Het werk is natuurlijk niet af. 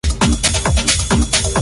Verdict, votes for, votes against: rejected, 0, 2